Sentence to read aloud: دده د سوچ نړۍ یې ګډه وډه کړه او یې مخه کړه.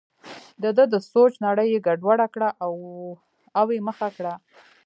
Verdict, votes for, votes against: rejected, 1, 2